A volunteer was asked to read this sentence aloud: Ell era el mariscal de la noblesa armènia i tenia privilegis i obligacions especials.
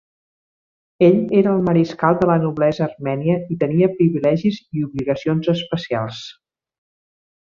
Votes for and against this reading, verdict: 3, 0, accepted